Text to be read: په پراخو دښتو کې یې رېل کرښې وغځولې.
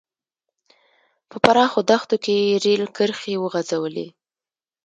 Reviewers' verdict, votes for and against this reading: rejected, 1, 2